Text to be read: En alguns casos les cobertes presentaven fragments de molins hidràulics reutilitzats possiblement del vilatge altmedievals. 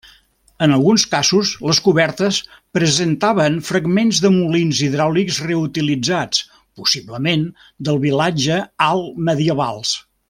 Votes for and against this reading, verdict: 2, 0, accepted